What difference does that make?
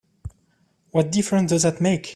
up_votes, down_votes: 2, 1